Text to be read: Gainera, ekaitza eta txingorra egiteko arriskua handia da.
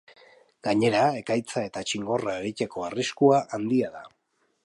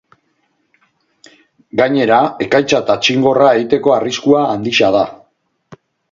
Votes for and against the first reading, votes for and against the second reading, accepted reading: 2, 0, 0, 2, first